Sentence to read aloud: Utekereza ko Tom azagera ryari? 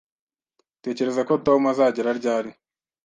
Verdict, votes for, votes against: accepted, 2, 0